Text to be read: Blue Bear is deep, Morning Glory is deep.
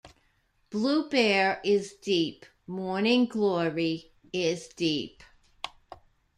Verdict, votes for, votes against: rejected, 0, 2